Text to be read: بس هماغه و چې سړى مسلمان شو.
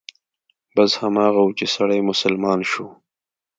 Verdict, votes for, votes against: accepted, 2, 0